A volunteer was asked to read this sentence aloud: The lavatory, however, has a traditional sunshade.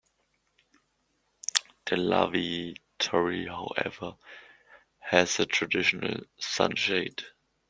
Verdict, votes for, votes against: rejected, 0, 2